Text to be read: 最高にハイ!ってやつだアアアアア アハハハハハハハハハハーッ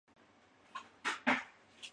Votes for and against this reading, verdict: 0, 2, rejected